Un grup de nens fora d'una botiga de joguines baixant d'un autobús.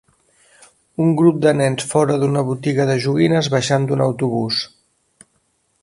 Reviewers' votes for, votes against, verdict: 3, 0, accepted